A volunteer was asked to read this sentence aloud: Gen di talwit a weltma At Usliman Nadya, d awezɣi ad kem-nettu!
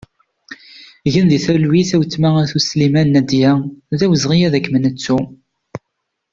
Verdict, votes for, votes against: accepted, 2, 0